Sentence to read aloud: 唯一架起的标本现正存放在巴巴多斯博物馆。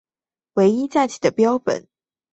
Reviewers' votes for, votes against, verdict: 1, 2, rejected